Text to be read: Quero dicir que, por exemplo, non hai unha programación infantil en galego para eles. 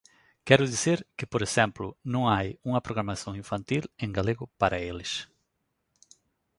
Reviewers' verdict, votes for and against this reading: accepted, 2, 0